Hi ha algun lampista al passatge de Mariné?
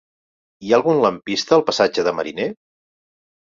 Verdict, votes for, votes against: accepted, 3, 1